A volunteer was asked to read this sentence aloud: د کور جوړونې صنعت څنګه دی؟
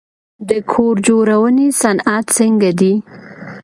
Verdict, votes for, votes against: accepted, 2, 0